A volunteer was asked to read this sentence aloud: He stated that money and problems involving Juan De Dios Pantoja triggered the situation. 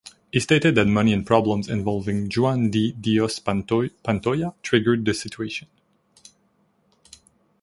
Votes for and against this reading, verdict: 1, 2, rejected